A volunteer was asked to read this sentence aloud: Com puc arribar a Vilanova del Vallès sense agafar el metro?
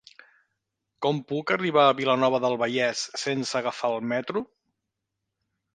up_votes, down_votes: 3, 0